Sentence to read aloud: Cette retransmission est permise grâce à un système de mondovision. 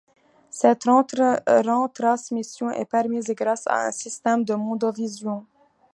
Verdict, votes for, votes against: rejected, 0, 2